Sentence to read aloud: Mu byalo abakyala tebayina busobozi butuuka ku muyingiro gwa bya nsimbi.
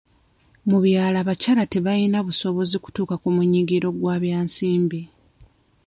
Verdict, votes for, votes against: rejected, 0, 2